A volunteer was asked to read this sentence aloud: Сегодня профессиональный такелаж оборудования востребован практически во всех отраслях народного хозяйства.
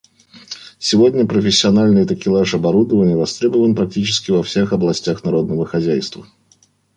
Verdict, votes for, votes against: accepted, 2, 1